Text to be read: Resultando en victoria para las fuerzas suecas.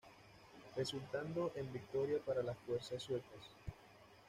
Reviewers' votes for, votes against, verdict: 2, 0, accepted